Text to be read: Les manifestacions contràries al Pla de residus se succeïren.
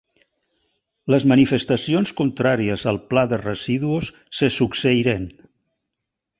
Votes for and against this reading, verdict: 1, 2, rejected